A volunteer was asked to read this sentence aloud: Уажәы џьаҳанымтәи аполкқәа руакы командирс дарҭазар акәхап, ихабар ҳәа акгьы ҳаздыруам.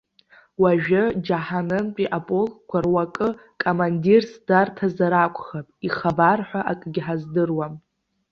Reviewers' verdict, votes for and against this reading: accepted, 2, 0